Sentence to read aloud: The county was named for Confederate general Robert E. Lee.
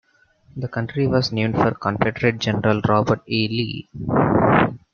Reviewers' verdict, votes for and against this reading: accepted, 2, 0